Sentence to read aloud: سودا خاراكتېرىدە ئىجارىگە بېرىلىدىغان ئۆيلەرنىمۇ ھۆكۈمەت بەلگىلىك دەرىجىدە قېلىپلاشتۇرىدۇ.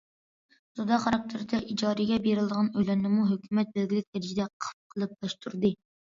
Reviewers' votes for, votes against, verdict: 0, 2, rejected